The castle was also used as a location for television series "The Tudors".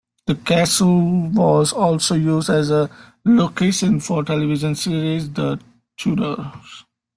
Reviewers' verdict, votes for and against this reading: accepted, 2, 0